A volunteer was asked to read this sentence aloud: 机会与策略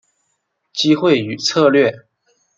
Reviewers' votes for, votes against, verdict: 2, 0, accepted